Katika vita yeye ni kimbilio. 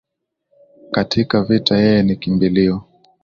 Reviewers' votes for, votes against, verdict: 2, 0, accepted